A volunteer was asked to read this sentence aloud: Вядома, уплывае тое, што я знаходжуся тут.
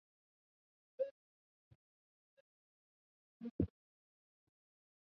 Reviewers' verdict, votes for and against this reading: rejected, 0, 2